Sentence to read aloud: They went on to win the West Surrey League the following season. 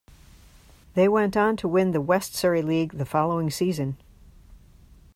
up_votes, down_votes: 2, 0